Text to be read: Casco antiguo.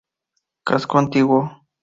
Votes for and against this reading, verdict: 4, 0, accepted